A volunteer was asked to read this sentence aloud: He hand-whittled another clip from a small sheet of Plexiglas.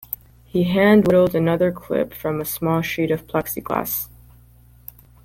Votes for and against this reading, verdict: 2, 0, accepted